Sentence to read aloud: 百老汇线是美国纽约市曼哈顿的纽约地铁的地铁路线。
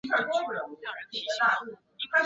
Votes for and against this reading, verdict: 4, 3, accepted